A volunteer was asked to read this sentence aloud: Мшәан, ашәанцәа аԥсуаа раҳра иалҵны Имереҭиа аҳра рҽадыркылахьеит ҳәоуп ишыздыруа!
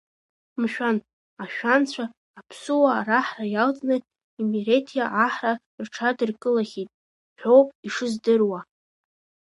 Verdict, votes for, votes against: accepted, 2, 1